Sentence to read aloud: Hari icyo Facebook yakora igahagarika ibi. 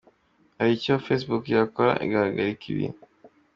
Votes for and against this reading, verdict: 1, 2, rejected